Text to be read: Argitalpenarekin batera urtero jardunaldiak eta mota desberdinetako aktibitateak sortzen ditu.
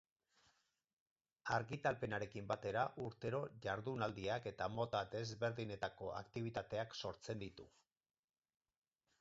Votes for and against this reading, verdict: 4, 0, accepted